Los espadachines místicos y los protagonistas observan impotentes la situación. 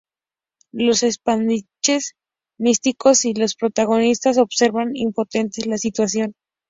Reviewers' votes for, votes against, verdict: 2, 0, accepted